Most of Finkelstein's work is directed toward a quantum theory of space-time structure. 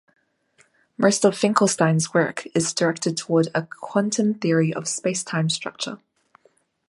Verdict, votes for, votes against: accepted, 2, 0